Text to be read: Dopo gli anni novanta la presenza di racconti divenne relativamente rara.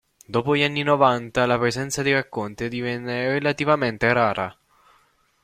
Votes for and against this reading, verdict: 2, 0, accepted